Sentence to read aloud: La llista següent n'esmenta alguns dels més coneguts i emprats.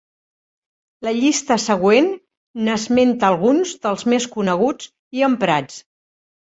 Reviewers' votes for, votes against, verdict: 3, 0, accepted